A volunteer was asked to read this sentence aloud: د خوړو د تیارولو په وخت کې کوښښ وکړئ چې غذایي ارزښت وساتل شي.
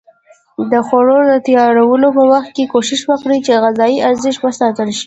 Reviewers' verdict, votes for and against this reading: accepted, 2, 0